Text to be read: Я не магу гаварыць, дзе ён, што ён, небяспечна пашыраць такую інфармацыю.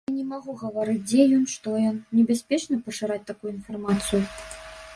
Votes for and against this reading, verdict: 0, 2, rejected